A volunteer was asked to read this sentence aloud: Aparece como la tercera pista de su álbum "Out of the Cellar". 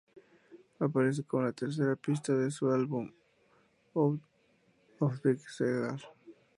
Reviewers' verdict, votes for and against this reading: rejected, 0, 2